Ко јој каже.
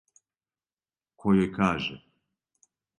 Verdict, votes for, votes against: accepted, 2, 0